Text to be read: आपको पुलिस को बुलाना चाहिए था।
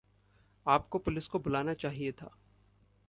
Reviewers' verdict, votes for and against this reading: accepted, 2, 0